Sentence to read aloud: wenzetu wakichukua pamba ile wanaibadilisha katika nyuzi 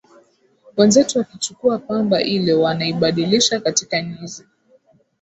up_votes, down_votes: 2, 0